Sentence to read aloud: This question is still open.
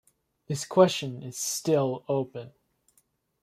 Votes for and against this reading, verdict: 2, 0, accepted